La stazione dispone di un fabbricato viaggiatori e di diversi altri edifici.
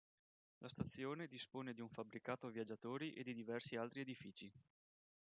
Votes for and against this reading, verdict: 2, 3, rejected